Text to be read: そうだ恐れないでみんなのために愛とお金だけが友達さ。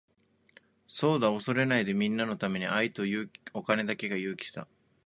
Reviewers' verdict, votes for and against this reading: rejected, 0, 2